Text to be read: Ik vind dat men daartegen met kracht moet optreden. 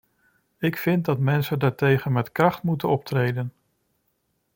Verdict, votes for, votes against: rejected, 0, 2